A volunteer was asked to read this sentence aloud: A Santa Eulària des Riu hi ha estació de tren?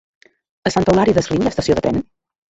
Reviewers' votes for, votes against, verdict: 0, 2, rejected